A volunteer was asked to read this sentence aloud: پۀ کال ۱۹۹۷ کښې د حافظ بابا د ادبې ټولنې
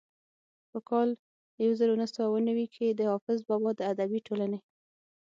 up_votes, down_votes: 0, 2